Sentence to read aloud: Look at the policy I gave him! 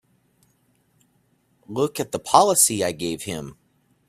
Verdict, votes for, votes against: accepted, 2, 0